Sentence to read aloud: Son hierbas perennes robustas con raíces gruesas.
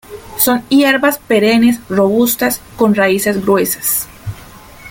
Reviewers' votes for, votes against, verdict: 2, 1, accepted